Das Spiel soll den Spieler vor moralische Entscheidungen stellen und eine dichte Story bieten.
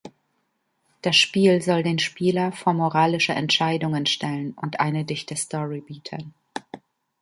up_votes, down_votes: 1, 2